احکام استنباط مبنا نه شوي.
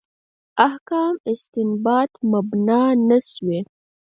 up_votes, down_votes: 2, 4